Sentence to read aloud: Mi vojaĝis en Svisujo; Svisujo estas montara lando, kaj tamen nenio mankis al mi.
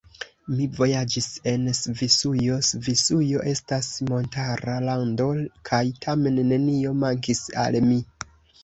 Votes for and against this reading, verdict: 2, 0, accepted